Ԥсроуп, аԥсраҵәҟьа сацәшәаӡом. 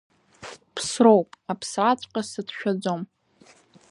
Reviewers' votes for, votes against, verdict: 2, 0, accepted